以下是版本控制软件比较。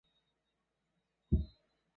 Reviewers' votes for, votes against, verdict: 0, 3, rejected